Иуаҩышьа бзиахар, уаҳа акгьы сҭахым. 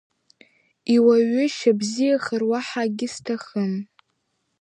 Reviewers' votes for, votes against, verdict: 2, 0, accepted